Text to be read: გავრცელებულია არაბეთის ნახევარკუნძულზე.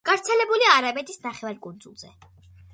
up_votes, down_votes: 2, 0